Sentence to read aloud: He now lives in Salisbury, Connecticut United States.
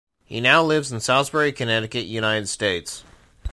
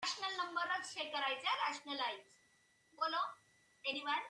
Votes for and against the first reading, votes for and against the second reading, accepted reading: 2, 0, 0, 2, first